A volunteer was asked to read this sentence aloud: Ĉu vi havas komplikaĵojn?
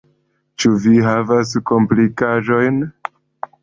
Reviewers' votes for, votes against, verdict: 2, 0, accepted